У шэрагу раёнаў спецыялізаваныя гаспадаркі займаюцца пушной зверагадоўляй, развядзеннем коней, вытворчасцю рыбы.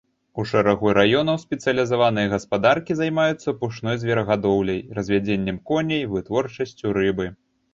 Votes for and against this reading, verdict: 2, 1, accepted